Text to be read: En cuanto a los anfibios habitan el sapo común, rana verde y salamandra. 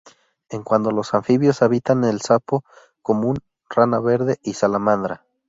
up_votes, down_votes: 0, 2